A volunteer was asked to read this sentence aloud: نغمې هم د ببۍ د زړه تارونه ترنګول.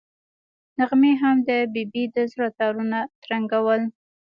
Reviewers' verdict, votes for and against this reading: accepted, 2, 1